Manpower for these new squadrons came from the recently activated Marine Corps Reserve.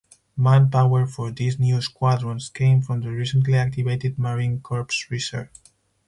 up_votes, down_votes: 4, 2